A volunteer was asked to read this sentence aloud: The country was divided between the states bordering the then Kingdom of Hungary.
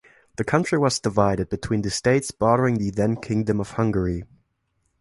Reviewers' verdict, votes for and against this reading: accepted, 2, 0